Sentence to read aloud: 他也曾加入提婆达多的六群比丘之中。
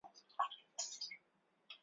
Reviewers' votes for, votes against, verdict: 0, 3, rejected